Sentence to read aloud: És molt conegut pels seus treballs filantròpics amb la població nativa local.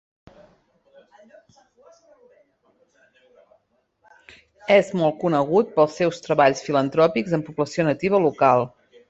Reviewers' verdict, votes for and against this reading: rejected, 1, 2